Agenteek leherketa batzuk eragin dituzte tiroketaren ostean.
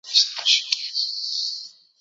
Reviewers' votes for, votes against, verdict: 0, 4, rejected